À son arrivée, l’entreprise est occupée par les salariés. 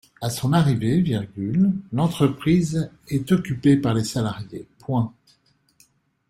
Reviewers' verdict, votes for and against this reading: rejected, 2, 3